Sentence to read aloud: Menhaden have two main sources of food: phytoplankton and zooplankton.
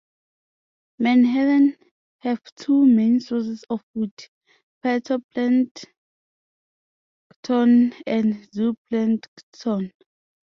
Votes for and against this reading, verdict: 0, 2, rejected